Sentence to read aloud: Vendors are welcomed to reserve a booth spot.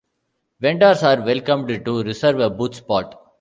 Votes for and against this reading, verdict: 2, 0, accepted